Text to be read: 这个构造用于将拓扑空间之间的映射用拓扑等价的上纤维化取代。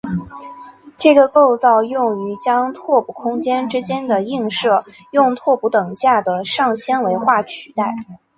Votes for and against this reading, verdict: 2, 1, accepted